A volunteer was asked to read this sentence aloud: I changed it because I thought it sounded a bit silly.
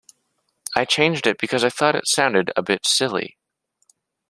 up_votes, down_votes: 2, 0